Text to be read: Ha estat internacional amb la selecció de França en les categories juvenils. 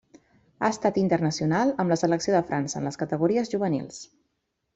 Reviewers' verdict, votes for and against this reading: accepted, 3, 0